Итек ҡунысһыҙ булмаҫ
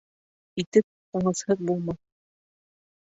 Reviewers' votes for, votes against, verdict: 0, 2, rejected